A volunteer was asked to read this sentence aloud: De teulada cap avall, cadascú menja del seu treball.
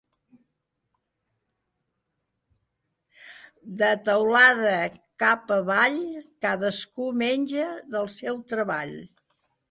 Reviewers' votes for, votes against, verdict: 3, 0, accepted